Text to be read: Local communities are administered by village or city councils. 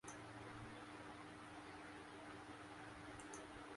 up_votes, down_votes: 0, 2